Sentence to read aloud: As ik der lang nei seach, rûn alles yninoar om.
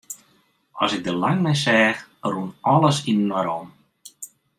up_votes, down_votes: 2, 0